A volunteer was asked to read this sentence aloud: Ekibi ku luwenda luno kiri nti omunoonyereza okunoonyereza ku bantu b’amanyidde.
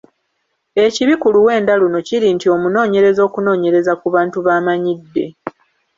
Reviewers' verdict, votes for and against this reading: accepted, 2, 0